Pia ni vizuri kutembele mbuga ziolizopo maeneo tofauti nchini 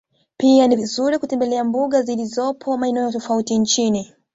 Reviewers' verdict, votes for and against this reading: accepted, 2, 1